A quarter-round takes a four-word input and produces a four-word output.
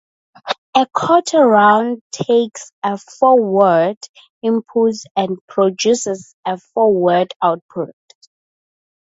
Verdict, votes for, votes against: accepted, 2, 0